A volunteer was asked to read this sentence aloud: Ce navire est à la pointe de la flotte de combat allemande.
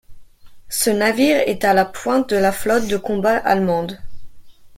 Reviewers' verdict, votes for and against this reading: accepted, 2, 1